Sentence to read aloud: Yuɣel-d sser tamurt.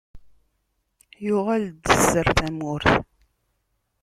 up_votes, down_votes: 1, 2